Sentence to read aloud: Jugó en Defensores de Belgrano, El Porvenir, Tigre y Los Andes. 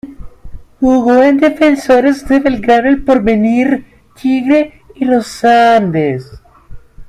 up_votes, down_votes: 1, 2